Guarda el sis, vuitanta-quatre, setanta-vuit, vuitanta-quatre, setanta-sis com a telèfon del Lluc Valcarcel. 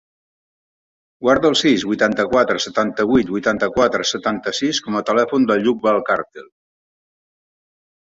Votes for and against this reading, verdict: 3, 0, accepted